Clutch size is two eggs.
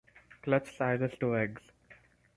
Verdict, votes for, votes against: rejected, 2, 4